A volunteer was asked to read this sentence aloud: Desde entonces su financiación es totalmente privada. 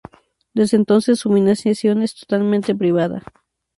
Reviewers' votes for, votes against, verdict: 2, 2, rejected